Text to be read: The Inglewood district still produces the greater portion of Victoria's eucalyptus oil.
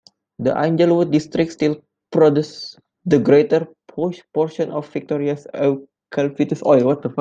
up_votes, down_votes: 1, 2